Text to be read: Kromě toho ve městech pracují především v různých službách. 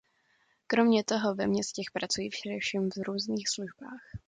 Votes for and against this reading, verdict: 1, 2, rejected